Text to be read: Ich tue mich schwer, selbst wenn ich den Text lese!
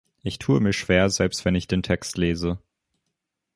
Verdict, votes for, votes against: accepted, 3, 0